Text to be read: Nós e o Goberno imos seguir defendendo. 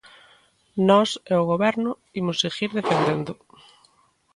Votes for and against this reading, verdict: 2, 0, accepted